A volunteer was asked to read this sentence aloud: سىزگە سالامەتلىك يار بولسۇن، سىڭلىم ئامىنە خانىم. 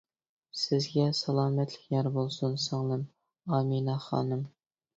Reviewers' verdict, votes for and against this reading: accepted, 2, 0